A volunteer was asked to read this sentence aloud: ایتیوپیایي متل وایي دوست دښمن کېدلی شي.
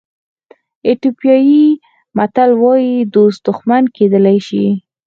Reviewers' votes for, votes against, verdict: 4, 2, accepted